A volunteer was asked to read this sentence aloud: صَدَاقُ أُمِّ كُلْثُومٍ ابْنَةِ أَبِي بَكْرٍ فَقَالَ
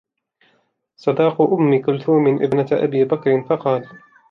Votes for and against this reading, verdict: 1, 2, rejected